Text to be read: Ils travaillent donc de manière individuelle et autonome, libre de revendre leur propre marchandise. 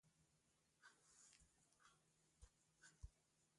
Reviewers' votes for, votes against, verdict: 0, 2, rejected